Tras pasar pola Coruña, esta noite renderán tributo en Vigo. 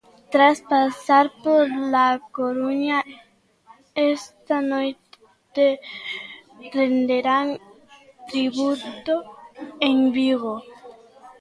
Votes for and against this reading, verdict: 1, 2, rejected